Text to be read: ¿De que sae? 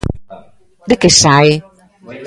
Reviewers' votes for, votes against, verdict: 2, 1, accepted